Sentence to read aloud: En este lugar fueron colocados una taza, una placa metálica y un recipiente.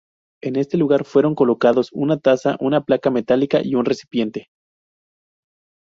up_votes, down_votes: 4, 0